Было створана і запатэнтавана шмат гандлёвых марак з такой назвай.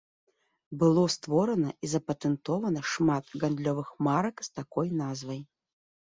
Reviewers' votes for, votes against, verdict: 0, 2, rejected